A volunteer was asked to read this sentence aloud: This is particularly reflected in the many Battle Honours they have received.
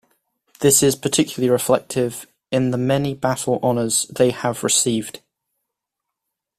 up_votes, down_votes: 0, 2